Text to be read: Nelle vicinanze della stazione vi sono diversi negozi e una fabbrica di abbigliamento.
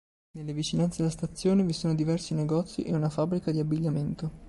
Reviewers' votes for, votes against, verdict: 3, 0, accepted